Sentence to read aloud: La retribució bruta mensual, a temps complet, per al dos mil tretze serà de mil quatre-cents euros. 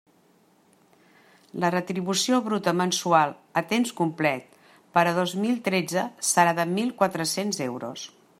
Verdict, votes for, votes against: rejected, 1, 2